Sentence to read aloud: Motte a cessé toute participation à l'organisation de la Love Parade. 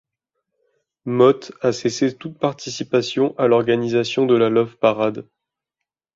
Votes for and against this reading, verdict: 2, 0, accepted